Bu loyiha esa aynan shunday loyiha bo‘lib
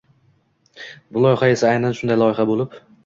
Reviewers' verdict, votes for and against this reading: accepted, 2, 0